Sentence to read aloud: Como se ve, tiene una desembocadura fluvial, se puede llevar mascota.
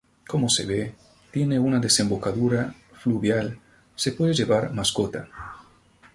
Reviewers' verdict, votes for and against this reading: rejected, 0, 2